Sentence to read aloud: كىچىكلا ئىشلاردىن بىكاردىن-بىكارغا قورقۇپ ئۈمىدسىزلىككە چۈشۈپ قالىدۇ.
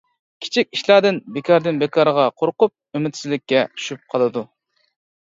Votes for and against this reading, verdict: 0, 2, rejected